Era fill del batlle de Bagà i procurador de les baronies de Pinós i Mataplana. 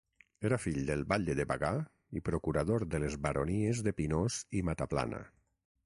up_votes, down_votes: 6, 0